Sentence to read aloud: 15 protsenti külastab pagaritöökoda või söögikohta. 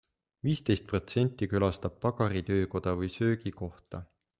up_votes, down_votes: 0, 2